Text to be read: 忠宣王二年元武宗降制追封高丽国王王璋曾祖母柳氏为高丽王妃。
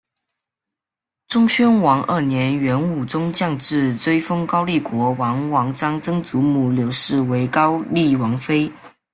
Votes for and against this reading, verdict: 1, 2, rejected